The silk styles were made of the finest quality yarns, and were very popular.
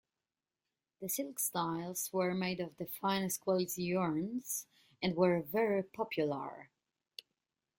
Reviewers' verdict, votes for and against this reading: accepted, 2, 1